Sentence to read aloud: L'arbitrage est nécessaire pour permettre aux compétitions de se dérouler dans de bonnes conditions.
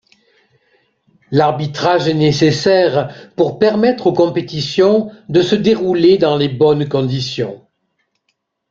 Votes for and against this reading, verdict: 1, 2, rejected